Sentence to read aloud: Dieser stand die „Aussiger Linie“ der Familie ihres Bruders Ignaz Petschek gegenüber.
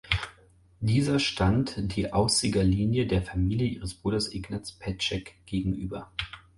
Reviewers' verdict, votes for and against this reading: accepted, 4, 0